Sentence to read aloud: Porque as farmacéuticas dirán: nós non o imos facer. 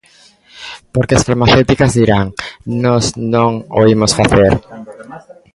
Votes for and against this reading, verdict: 1, 2, rejected